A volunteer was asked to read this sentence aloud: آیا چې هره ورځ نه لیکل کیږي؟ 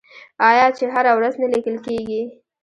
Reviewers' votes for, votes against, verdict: 1, 2, rejected